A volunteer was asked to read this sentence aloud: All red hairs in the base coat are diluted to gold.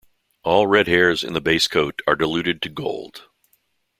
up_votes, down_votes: 2, 0